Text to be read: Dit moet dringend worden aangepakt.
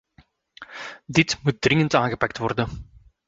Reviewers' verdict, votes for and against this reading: rejected, 1, 2